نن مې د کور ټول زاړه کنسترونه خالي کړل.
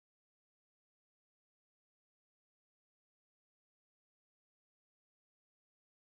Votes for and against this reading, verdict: 1, 2, rejected